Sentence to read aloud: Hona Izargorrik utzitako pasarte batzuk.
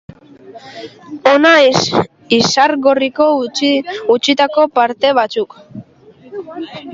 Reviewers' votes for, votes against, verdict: 0, 2, rejected